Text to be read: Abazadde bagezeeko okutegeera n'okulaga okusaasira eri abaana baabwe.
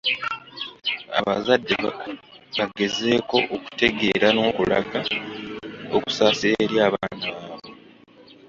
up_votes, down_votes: 1, 2